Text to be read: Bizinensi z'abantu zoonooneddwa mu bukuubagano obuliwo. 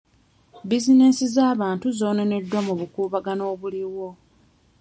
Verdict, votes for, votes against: accepted, 2, 0